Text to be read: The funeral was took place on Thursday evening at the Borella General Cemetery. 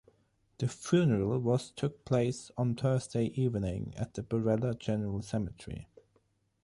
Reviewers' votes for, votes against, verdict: 6, 0, accepted